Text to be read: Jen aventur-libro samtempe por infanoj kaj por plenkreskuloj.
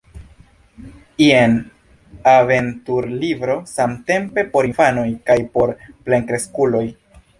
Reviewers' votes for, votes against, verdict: 2, 0, accepted